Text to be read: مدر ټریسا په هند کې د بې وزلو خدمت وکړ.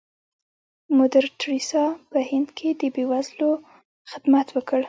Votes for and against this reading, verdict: 0, 2, rejected